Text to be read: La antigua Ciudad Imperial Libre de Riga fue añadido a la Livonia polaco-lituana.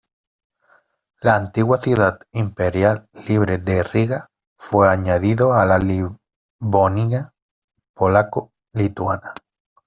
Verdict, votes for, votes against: rejected, 0, 2